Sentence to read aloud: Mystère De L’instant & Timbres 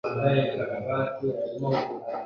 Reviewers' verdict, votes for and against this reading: rejected, 0, 2